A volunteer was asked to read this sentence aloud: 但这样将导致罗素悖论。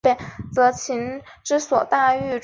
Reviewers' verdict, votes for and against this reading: rejected, 2, 4